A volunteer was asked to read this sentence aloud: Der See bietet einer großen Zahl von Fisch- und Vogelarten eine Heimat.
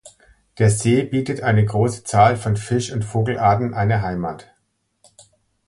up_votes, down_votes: 0, 2